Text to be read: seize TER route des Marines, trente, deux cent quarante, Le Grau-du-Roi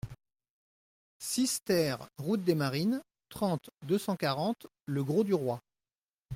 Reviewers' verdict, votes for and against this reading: rejected, 0, 2